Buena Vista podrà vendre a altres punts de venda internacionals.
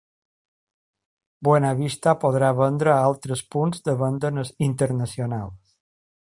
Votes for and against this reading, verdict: 2, 3, rejected